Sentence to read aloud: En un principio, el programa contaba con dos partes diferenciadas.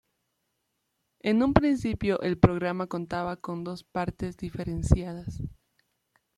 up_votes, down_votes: 2, 0